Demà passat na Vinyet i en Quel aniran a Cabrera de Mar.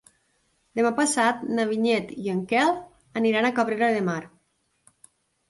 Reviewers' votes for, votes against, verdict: 3, 0, accepted